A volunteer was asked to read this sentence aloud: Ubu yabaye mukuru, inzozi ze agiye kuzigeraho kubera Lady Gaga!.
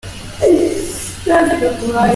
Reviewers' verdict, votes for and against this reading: rejected, 0, 2